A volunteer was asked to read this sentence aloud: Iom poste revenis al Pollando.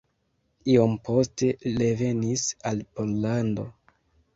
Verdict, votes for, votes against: rejected, 1, 2